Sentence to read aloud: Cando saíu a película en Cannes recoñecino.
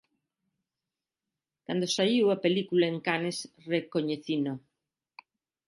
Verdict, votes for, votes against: accepted, 2, 0